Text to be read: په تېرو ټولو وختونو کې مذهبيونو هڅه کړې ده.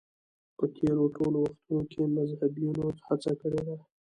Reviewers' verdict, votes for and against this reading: accepted, 2, 1